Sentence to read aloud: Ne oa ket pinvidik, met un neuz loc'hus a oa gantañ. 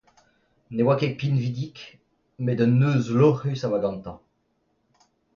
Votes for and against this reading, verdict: 2, 0, accepted